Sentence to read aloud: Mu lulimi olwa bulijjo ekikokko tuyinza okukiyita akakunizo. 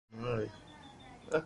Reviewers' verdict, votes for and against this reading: rejected, 0, 2